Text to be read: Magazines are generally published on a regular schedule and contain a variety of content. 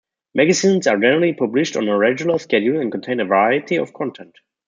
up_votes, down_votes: 0, 2